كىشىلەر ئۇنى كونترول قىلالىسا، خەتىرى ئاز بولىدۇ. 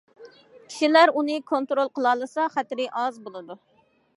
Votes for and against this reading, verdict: 2, 0, accepted